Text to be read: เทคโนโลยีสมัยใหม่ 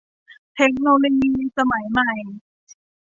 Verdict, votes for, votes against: accepted, 2, 0